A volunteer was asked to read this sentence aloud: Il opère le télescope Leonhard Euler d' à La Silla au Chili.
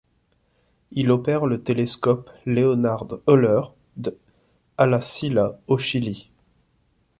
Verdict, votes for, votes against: rejected, 1, 2